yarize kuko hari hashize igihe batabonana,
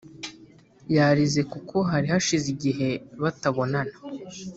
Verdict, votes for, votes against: accepted, 3, 0